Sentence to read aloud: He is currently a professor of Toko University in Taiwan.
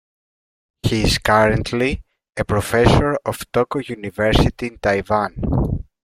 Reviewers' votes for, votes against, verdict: 1, 2, rejected